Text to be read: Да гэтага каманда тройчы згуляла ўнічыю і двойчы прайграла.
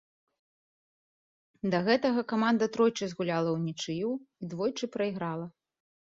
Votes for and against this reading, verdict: 2, 0, accepted